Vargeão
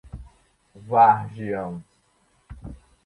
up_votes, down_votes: 0, 2